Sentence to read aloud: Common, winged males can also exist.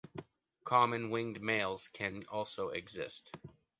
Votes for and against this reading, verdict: 2, 0, accepted